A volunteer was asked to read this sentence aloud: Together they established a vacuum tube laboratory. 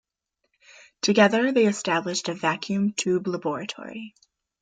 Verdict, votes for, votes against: accepted, 2, 0